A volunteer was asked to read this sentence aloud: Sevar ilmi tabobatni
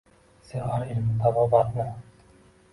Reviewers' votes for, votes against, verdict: 2, 1, accepted